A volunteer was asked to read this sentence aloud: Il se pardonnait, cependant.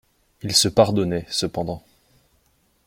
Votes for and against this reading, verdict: 2, 0, accepted